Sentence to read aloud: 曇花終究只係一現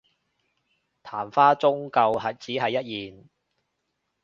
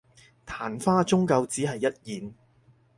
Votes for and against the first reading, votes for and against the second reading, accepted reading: 1, 2, 4, 0, second